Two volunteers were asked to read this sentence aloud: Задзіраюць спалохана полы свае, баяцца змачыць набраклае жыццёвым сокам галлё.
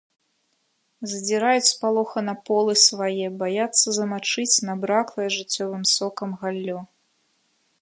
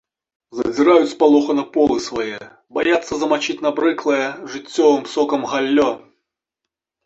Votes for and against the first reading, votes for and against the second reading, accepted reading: 2, 0, 0, 2, first